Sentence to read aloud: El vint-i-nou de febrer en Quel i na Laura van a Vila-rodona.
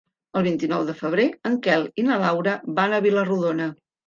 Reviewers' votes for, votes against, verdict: 3, 0, accepted